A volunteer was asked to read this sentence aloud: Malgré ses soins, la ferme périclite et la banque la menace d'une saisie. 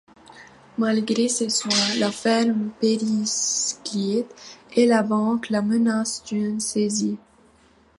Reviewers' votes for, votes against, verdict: 0, 2, rejected